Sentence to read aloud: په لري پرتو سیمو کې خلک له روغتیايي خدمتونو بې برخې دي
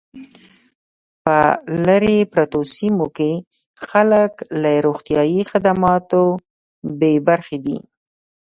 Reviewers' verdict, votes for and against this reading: rejected, 0, 2